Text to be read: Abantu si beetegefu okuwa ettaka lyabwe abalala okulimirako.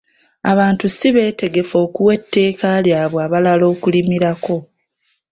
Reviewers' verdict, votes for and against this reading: rejected, 1, 2